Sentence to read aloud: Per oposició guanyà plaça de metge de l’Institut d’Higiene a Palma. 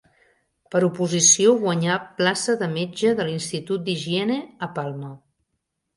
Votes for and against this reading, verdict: 4, 0, accepted